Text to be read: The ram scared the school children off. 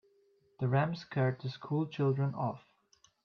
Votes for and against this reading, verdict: 3, 0, accepted